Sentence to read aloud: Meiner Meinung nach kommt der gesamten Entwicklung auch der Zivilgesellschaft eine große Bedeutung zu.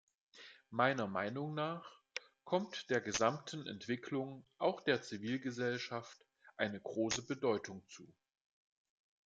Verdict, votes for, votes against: accepted, 2, 0